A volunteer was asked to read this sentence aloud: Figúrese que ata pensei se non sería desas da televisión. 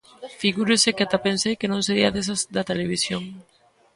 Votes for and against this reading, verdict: 0, 2, rejected